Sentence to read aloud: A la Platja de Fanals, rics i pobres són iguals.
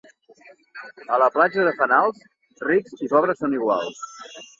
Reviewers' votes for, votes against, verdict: 2, 0, accepted